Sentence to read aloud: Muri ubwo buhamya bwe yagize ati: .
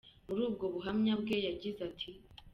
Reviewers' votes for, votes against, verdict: 0, 2, rejected